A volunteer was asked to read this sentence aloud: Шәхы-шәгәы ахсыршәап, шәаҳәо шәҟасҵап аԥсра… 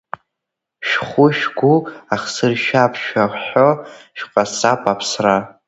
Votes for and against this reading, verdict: 0, 2, rejected